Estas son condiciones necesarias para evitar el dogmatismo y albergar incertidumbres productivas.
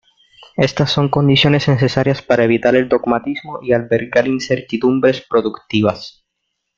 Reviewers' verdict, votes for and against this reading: accepted, 2, 0